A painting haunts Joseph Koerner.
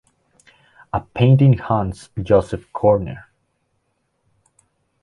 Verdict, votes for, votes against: accepted, 2, 0